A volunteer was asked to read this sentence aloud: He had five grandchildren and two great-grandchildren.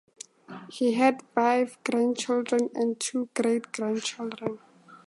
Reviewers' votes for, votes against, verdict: 2, 0, accepted